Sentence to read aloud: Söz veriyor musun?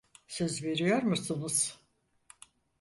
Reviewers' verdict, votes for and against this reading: rejected, 0, 4